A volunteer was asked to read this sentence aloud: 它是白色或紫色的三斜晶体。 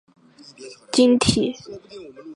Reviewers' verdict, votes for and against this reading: rejected, 0, 2